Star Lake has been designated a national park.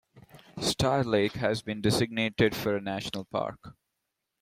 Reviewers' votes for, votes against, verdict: 0, 2, rejected